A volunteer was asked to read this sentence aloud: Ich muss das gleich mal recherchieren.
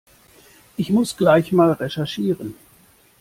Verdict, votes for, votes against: rejected, 1, 2